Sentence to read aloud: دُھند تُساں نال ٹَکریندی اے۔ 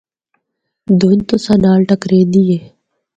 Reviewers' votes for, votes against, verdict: 4, 0, accepted